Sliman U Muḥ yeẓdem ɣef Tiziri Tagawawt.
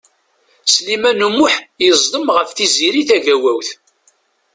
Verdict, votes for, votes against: accepted, 2, 0